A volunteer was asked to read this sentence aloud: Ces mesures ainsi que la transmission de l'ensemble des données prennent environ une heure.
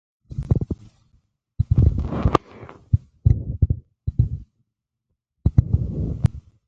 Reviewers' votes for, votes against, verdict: 0, 2, rejected